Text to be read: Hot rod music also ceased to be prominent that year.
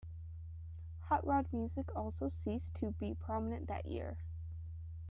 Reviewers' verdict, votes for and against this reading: rejected, 1, 2